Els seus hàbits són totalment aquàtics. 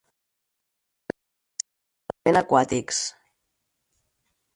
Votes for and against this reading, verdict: 0, 4, rejected